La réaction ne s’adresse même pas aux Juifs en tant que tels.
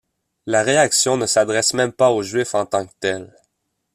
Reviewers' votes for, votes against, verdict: 1, 2, rejected